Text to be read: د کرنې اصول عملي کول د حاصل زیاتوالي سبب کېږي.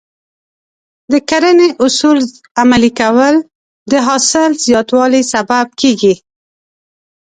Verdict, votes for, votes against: accepted, 2, 0